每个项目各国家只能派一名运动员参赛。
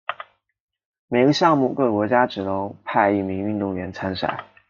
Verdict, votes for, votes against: accepted, 2, 0